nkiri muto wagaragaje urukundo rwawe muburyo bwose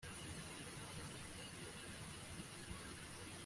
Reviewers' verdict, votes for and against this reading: rejected, 0, 2